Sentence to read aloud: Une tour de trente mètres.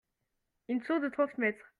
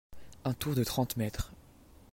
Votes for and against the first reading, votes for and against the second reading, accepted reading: 2, 0, 0, 2, first